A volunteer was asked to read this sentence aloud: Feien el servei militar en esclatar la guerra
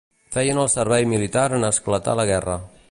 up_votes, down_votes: 2, 0